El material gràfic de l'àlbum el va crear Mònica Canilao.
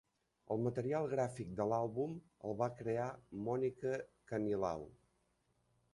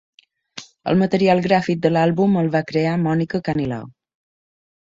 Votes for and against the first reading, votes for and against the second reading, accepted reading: 1, 2, 2, 0, second